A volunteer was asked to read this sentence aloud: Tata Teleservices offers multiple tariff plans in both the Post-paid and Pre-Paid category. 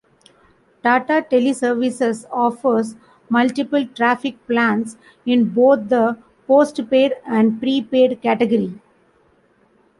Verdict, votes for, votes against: rejected, 0, 2